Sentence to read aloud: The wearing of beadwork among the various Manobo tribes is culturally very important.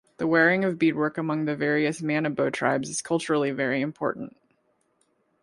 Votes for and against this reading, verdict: 2, 0, accepted